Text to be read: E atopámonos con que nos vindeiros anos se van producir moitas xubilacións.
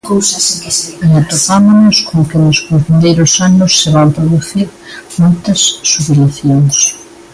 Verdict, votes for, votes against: rejected, 0, 2